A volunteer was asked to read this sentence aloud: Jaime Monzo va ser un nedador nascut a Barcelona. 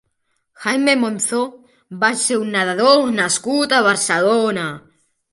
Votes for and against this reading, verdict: 1, 2, rejected